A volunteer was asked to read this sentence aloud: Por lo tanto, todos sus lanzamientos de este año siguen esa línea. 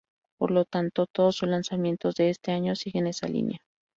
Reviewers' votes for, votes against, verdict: 0, 2, rejected